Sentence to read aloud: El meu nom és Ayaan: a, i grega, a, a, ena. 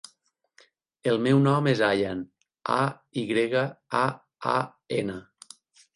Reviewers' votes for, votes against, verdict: 8, 0, accepted